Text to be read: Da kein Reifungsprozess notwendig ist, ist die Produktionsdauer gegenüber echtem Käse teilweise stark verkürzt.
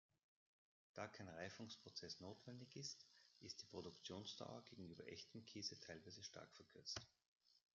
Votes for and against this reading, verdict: 2, 0, accepted